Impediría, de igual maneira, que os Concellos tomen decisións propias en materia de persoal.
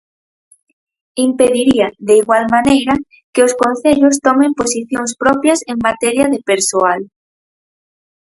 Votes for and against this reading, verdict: 0, 4, rejected